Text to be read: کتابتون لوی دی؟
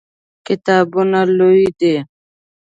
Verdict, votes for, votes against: rejected, 0, 2